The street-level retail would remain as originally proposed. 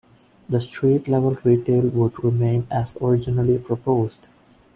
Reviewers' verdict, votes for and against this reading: accepted, 2, 0